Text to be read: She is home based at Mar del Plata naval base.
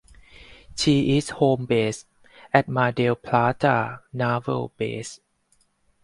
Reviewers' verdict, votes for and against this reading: accepted, 4, 0